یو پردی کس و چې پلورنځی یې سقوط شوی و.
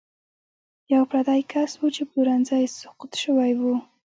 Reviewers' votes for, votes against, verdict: 2, 0, accepted